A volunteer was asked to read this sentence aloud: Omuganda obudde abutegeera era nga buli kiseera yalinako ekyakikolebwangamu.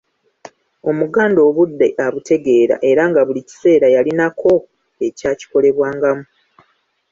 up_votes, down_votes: 2, 1